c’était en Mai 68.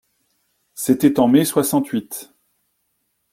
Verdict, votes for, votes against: rejected, 0, 2